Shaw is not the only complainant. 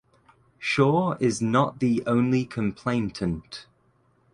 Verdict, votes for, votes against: rejected, 1, 2